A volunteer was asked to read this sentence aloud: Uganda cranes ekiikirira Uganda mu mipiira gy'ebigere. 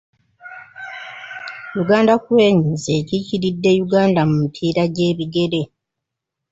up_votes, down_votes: 0, 2